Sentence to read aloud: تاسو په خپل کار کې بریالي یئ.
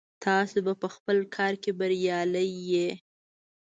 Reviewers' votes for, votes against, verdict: 1, 2, rejected